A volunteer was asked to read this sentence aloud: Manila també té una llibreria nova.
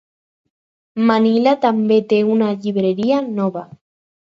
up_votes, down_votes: 4, 0